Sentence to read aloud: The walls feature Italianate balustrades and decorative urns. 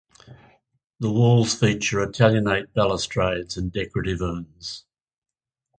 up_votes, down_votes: 4, 0